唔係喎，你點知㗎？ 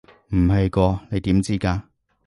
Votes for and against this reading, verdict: 0, 2, rejected